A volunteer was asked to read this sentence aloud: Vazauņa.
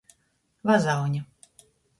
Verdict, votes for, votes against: accepted, 2, 0